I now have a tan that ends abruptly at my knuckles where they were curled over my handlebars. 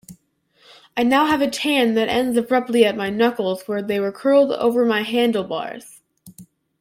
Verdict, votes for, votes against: accepted, 2, 0